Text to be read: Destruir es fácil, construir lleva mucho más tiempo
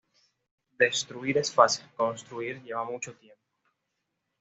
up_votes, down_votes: 0, 2